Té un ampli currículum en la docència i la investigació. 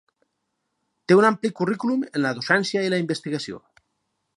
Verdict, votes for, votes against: accepted, 4, 0